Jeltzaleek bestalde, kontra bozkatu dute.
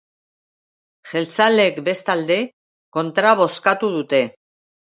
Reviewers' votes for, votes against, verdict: 2, 0, accepted